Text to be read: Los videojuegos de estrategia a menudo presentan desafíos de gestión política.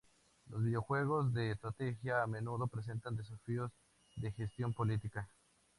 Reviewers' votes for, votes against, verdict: 2, 0, accepted